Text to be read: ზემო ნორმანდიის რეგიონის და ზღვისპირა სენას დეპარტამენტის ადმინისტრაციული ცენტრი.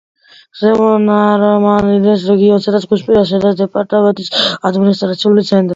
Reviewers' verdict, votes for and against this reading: rejected, 0, 2